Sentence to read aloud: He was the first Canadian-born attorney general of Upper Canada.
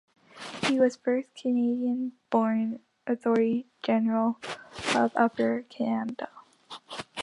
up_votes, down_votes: 2, 0